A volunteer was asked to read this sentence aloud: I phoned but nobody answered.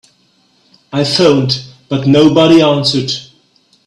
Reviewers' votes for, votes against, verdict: 3, 0, accepted